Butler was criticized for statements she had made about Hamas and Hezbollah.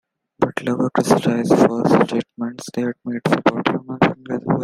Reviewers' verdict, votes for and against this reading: rejected, 0, 2